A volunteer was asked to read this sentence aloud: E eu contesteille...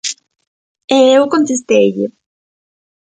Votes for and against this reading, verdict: 2, 0, accepted